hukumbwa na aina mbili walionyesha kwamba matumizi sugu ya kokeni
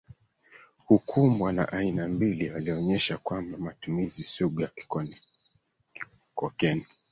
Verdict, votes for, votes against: rejected, 1, 2